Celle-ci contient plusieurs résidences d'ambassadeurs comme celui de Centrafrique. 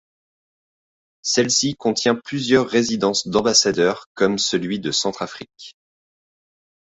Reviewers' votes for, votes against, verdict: 2, 0, accepted